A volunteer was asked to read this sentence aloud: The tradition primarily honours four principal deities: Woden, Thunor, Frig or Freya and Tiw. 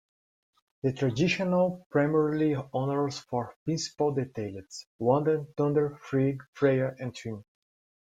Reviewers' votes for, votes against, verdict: 1, 2, rejected